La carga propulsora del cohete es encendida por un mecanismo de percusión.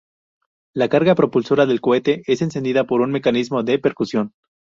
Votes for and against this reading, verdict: 2, 0, accepted